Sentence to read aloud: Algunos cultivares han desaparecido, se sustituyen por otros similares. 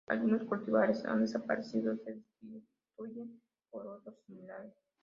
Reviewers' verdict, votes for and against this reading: rejected, 0, 2